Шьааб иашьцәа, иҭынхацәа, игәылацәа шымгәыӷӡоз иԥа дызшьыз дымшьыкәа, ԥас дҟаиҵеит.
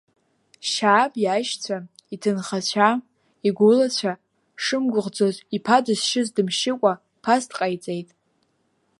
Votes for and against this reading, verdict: 2, 0, accepted